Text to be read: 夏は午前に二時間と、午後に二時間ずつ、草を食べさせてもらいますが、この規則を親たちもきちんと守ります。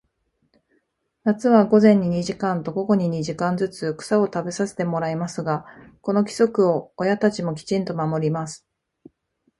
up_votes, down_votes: 2, 0